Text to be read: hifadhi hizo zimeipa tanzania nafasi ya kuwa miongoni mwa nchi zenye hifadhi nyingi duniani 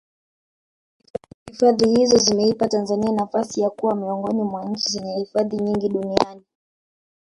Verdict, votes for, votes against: rejected, 0, 2